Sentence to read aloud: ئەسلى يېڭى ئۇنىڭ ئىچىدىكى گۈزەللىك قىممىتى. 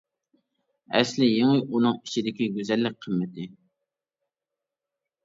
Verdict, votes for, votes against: accepted, 2, 0